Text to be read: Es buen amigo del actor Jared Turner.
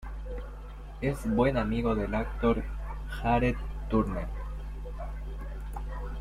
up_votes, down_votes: 0, 2